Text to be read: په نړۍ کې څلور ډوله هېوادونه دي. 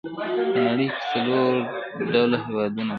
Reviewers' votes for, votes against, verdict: 2, 0, accepted